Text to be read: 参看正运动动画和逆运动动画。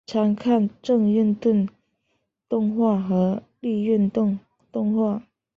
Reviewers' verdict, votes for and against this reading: accepted, 2, 0